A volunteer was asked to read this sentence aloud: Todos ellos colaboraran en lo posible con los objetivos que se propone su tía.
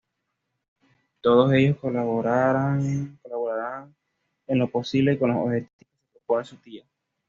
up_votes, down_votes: 1, 2